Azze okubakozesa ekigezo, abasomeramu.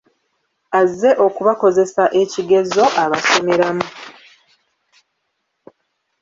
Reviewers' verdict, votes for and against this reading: rejected, 0, 2